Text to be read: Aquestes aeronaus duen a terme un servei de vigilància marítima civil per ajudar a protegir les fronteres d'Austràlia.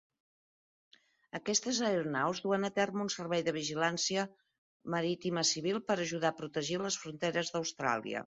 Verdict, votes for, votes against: accepted, 3, 0